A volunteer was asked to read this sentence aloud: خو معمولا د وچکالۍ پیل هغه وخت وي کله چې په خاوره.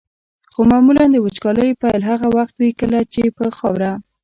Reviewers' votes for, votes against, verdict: 1, 2, rejected